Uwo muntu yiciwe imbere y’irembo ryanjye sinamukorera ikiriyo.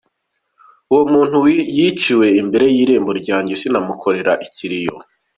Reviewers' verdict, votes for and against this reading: accepted, 3, 1